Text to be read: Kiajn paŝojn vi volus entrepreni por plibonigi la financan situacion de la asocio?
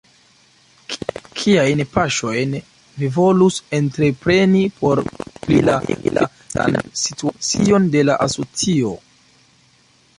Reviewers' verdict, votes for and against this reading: rejected, 0, 3